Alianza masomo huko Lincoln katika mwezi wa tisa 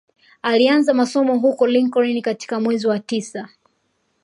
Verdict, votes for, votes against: accepted, 2, 0